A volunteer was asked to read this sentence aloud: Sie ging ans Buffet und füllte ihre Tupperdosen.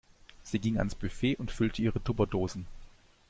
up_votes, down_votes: 2, 0